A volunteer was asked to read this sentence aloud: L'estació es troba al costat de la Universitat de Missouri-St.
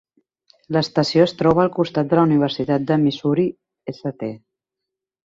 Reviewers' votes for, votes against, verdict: 4, 0, accepted